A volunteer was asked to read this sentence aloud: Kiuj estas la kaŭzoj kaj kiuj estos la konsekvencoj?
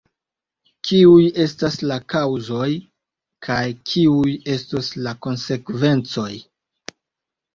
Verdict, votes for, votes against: accepted, 2, 0